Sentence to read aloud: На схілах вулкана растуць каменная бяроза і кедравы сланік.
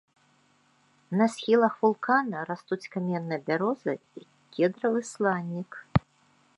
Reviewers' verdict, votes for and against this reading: accepted, 2, 0